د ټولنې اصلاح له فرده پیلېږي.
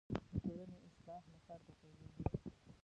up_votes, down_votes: 1, 2